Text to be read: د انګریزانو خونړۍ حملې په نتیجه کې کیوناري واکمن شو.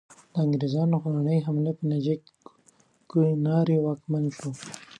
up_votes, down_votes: 1, 2